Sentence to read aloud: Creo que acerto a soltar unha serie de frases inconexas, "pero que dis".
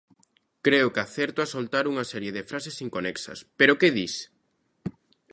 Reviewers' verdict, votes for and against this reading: accepted, 2, 0